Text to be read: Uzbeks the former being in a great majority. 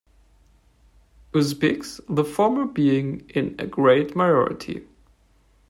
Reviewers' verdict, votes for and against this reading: rejected, 1, 2